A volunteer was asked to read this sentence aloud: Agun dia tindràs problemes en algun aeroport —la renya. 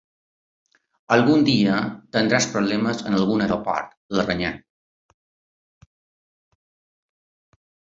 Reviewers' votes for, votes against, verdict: 2, 1, accepted